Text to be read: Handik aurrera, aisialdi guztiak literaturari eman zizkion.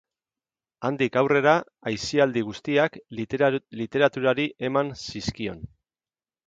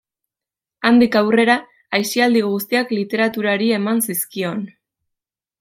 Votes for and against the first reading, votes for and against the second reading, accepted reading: 2, 2, 2, 0, second